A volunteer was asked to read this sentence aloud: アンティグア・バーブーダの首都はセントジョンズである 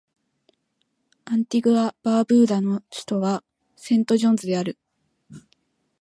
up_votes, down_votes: 2, 0